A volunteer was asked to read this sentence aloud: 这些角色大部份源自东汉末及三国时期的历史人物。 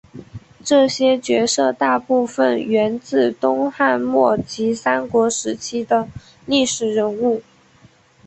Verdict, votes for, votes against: accepted, 2, 1